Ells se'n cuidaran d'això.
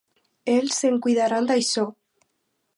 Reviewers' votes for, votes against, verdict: 4, 0, accepted